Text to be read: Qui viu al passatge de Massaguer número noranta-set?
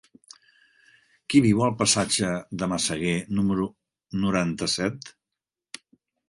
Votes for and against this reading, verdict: 3, 0, accepted